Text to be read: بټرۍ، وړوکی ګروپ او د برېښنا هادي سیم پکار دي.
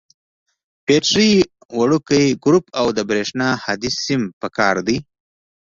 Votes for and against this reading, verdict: 2, 0, accepted